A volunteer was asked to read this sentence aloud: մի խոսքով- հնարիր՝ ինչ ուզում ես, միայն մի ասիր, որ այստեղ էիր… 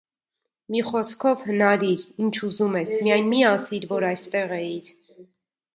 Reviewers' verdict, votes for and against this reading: rejected, 1, 2